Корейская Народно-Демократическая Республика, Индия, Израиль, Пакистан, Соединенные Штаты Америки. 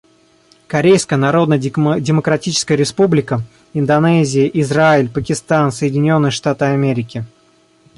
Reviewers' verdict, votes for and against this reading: rejected, 0, 2